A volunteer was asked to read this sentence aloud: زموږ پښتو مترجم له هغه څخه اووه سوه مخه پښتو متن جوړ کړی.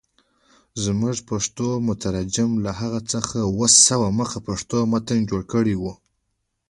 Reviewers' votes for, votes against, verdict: 3, 1, accepted